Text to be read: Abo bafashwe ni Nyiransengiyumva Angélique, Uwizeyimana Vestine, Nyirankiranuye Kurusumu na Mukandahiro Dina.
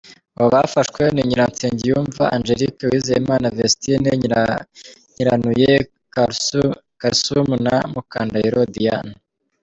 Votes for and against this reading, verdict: 1, 2, rejected